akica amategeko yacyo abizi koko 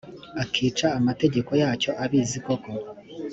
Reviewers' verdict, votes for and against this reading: accepted, 2, 0